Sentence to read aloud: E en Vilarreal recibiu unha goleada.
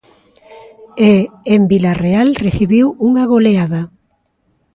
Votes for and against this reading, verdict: 2, 0, accepted